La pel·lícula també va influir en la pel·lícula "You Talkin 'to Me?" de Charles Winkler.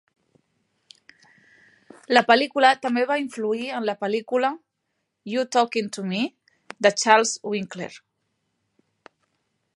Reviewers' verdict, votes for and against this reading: accepted, 2, 0